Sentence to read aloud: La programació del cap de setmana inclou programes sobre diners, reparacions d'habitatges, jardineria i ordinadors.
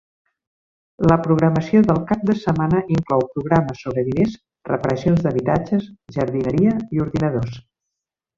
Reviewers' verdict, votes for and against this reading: accepted, 2, 0